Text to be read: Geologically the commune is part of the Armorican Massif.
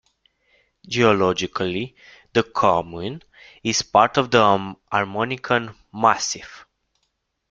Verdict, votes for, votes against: rejected, 0, 2